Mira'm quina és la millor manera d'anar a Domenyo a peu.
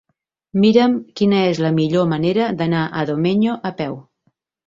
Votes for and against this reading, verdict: 2, 0, accepted